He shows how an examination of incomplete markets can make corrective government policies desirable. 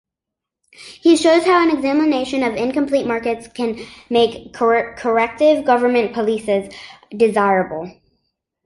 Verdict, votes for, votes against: rejected, 1, 2